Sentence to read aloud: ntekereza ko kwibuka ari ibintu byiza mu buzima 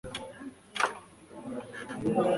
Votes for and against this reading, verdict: 1, 2, rejected